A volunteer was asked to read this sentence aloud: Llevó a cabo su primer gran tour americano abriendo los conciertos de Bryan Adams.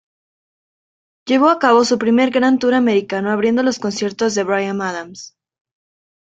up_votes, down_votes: 2, 0